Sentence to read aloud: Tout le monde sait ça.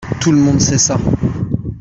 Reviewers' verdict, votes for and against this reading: accepted, 2, 0